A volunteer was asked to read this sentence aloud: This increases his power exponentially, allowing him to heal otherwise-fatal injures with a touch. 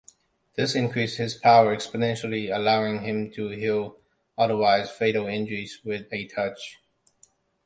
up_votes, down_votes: 1, 2